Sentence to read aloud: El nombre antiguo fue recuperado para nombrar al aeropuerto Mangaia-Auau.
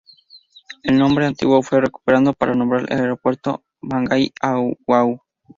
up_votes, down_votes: 0, 2